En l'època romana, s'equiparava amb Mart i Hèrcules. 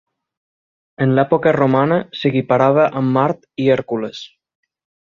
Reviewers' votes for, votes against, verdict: 6, 0, accepted